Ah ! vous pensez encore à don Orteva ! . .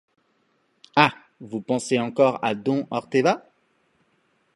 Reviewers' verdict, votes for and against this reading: accepted, 2, 0